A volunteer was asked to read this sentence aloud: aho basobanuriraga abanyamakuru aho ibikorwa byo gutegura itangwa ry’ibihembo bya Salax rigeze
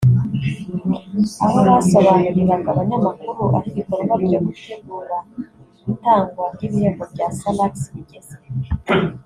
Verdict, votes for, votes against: accepted, 3, 0